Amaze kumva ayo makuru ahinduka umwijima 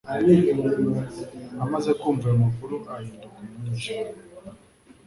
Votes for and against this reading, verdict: 3, 0, accepted